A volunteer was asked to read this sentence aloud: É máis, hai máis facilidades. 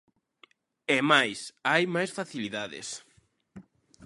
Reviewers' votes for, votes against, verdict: 2, 0, accepted